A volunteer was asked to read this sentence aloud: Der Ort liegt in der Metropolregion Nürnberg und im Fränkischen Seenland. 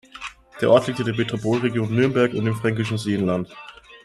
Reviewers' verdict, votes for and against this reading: accepted, 2, 0